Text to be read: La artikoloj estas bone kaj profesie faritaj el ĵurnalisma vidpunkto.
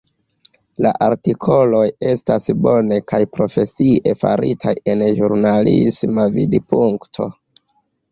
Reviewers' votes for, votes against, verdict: 2, 0, accepted